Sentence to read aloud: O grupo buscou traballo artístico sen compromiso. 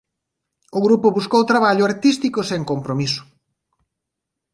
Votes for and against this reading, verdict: 2, 0, accepted